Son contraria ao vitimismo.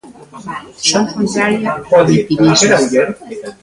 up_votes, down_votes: 0, 2